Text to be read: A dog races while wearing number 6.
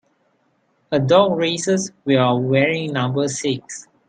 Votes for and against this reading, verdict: 0, 2, rejected